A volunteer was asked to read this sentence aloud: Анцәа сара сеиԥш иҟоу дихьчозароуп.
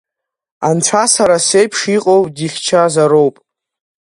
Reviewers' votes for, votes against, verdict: 3, 1, accepted